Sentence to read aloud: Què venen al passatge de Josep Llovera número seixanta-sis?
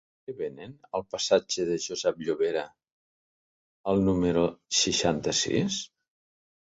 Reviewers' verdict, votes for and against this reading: rejected, 0, 2